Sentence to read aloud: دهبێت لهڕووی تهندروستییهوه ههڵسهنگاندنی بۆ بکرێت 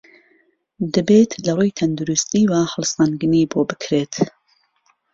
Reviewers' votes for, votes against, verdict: 1, 2, rejected